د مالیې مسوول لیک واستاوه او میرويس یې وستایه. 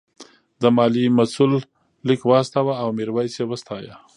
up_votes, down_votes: 1, 2